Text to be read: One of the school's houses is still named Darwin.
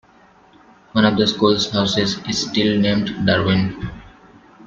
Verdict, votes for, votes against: accepted, 2, 0